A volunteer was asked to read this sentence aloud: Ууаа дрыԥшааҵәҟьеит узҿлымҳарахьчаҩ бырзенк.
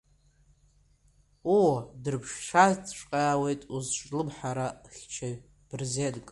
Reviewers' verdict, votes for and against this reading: rejected, 0, 2